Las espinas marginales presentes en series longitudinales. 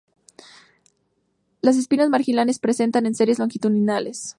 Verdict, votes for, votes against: rejected, 0, 2